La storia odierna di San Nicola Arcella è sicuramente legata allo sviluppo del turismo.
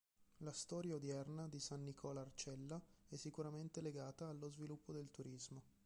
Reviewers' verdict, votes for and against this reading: rejected, 1, 2